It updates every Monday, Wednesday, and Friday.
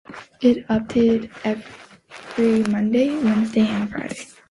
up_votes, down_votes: 2, 0